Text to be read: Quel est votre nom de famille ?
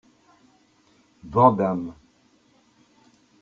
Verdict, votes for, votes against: rejected, 0, 2